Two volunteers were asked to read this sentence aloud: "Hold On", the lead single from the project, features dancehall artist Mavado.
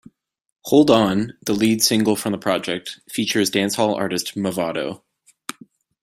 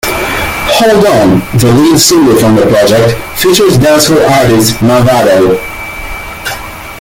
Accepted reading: first